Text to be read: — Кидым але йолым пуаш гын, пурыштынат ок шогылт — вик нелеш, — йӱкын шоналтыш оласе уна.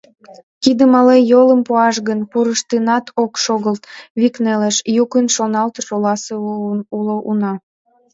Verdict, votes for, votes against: rejected, 1, 2